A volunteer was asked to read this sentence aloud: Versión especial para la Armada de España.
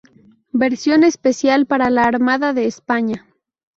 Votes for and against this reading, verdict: 0, 2, rejected